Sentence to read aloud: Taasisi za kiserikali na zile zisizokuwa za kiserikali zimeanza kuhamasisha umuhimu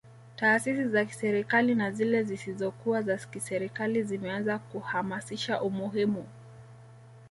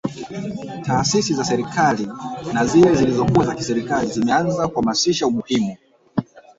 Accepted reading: first